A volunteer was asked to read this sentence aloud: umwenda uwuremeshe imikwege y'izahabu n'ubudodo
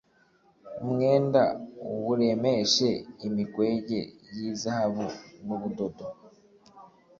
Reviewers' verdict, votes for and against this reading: accepted, 2, 0